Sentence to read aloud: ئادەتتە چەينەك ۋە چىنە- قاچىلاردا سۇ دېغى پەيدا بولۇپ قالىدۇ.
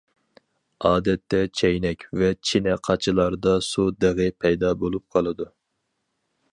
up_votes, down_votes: 4, 0